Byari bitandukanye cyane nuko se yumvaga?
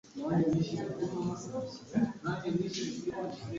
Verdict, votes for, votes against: rejected, 1, 2